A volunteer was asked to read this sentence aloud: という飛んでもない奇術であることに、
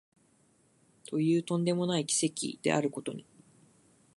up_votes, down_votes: 1, 2